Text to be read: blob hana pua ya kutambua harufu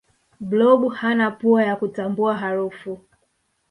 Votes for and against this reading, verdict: 2, 0, accepted